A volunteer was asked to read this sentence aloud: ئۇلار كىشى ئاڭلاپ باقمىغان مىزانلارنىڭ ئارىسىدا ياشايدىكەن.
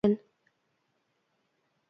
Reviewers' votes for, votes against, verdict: 0, 2, rejected